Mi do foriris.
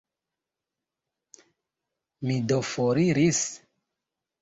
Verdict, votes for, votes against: accepted, 2, 1